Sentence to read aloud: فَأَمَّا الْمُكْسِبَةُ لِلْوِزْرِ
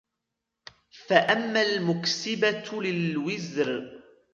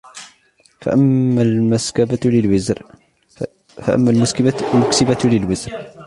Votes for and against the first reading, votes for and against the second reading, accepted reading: 2, 0, 0, 2, first